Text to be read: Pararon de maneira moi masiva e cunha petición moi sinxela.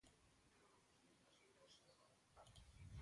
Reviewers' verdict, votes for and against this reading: rejected, 0, 2